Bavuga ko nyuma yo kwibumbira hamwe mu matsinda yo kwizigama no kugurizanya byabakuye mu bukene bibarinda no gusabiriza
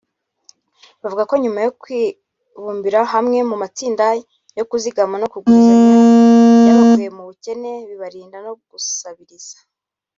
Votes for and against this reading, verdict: 1, 2, rejected